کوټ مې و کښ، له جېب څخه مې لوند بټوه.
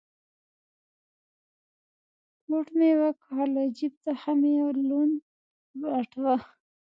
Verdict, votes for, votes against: rejected, 1, 2